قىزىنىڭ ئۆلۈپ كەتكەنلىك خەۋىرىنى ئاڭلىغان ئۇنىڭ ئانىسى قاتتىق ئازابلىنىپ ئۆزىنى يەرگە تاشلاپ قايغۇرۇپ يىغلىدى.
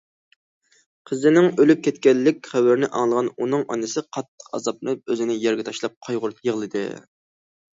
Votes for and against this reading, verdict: 2, 0, accepted